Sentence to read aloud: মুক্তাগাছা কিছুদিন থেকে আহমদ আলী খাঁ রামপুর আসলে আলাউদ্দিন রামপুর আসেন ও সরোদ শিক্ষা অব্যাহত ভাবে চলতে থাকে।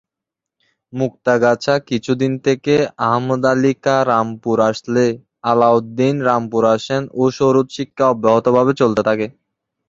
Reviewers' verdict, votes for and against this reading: rejected, 1, 2